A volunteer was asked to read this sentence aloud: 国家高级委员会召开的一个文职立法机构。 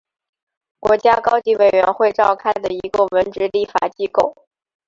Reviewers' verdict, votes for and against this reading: accepted, 3, 0